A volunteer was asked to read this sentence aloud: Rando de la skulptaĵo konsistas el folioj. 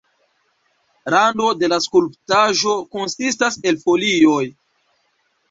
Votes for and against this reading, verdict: 2, 1, accepted